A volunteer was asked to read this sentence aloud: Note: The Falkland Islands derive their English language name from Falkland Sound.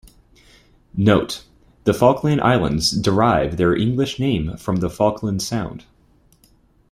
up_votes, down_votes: 1, 2